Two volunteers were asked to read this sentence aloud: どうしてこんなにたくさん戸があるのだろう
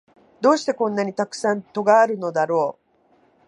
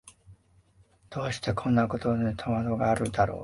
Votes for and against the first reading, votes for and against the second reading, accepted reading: 2, 0, 1, 2, first